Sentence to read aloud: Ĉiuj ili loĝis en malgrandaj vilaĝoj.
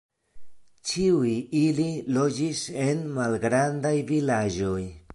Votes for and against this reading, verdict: 2, 0, accepted